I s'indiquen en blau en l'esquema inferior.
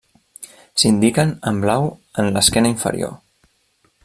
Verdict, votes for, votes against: rejected, 1, 2